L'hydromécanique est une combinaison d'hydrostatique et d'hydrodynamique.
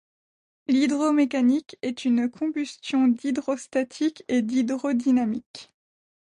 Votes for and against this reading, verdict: 0, 2, rejected